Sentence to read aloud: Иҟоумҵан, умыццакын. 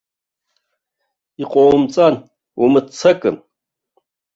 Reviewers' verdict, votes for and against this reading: rejected, 1, 2